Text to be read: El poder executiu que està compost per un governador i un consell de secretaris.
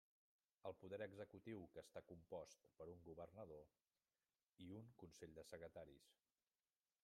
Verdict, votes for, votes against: rejected, 1, 2